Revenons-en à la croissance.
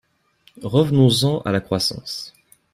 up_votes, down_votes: 2, 0